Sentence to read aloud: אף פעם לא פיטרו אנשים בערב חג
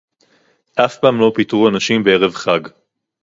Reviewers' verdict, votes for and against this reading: accepted, 2, 0